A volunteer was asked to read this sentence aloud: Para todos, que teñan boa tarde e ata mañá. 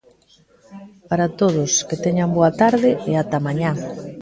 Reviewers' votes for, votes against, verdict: 2, 0, accepted